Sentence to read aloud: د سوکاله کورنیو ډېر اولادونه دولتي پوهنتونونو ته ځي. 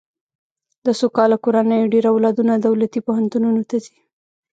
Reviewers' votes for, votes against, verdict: 1, 2, rejected